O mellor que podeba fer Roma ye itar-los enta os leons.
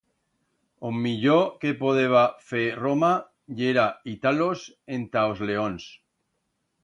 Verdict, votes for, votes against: rejected, 1, 2